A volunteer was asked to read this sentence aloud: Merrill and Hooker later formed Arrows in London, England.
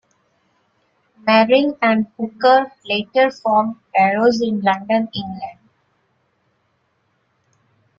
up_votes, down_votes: 2, 0